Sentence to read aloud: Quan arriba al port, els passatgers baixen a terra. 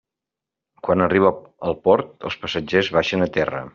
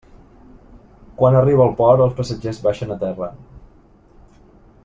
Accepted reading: second